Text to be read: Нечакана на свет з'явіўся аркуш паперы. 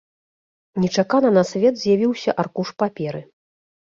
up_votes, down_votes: 2, 0